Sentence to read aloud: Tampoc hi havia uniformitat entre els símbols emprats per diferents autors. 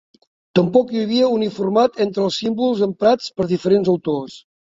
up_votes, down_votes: 0, 2